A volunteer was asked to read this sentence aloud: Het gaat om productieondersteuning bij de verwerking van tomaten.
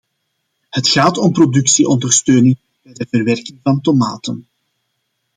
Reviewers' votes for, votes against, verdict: 1, 2, rejected